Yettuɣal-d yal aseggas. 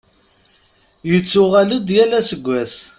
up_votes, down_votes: 2, 0